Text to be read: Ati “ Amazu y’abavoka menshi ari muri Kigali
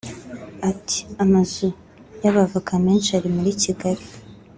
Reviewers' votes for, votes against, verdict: 2, 0, accepted